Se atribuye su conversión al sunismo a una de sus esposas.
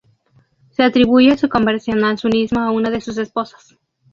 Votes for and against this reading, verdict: 2, 0, accepted